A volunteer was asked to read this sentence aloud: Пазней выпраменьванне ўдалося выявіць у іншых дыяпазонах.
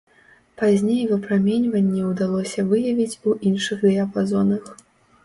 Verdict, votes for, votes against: accepted, 2, 0